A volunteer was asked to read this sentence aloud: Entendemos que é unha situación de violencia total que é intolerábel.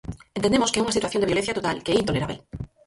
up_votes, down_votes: 0, 6